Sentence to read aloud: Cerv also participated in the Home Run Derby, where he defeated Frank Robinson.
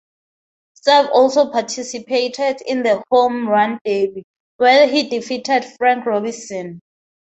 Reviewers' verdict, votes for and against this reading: accepted, 4, 0